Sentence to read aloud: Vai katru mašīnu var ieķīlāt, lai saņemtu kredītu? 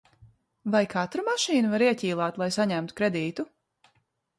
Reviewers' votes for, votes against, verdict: 2, 0, accepted